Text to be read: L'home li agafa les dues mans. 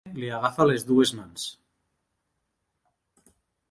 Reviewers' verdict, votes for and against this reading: rejected, 0, 2